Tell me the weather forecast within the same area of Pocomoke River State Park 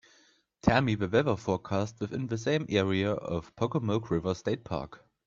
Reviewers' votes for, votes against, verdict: 2, 0, accepted